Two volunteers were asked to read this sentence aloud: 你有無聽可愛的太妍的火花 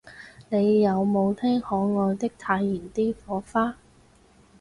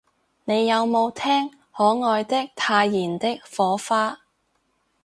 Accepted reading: second